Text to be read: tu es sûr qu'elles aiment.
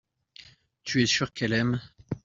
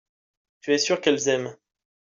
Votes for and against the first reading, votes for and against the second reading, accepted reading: 1, 2, 2, 0, second